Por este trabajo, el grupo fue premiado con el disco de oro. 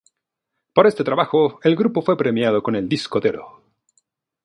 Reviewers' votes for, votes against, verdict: 2, 0, accepted